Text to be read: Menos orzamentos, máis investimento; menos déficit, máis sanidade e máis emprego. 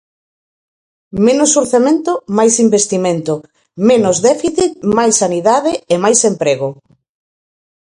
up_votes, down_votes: 0, 4